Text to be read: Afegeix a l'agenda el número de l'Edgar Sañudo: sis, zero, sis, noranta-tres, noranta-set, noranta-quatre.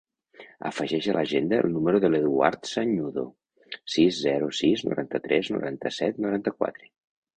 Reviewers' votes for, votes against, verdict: 2, 4, rejected